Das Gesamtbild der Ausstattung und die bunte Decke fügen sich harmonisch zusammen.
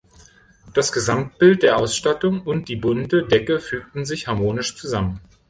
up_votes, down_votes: 2, 3